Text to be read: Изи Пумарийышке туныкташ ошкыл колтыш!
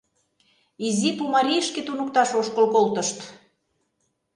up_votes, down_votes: 0, 2